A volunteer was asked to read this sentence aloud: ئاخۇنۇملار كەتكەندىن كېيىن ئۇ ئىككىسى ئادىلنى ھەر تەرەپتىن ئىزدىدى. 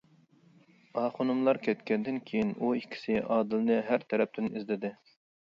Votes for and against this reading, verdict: 2, 0, accepted